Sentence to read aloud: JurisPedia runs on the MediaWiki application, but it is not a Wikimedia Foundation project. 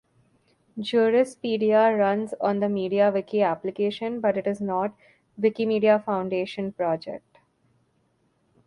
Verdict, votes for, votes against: accepted, 2, 1